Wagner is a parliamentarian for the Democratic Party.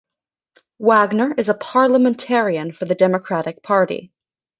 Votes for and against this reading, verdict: 2, 1, accepted